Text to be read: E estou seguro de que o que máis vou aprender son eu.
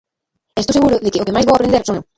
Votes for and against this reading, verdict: 0, 2, rejected